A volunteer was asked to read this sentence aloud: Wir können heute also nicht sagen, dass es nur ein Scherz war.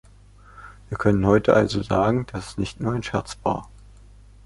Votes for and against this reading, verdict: 0, 2, rejected